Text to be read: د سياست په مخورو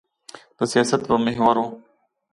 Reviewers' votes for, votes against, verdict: 1, 2, rejected